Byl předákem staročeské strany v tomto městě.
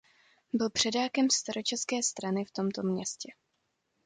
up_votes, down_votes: 2, 0